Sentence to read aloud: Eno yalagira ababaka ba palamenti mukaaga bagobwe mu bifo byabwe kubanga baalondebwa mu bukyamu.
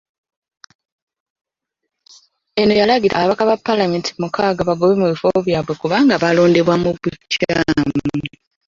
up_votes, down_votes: 0, 2